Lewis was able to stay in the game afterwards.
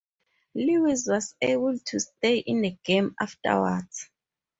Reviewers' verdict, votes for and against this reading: accepted, 4, 0